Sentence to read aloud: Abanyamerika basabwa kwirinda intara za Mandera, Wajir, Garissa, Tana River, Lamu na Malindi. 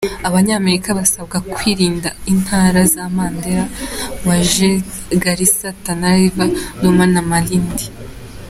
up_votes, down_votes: 2, 0